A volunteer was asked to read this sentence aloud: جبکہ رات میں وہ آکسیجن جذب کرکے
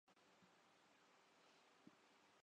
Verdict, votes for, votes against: rejected, 0, 2